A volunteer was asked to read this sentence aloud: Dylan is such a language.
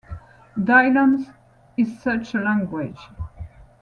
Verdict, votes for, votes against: rejected, 0, 2